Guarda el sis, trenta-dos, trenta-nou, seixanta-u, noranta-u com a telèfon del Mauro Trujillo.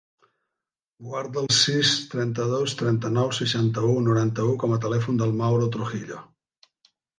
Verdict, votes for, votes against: accepted, 3, 0